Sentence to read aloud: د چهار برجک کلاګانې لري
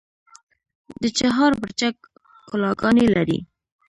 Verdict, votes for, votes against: rejected, 1, 2